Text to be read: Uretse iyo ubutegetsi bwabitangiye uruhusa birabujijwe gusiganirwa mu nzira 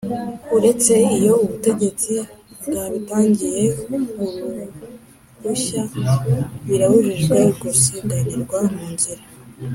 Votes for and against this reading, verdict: 2, 3, rejected